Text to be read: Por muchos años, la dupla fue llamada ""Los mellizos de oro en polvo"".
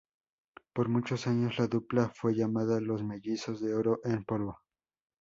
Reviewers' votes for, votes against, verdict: 4, 0, accepted